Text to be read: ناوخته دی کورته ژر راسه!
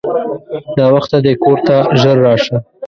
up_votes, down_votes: 1, 2